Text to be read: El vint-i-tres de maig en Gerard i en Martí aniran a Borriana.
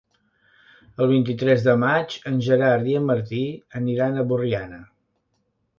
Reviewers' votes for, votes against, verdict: 2, 0, accepted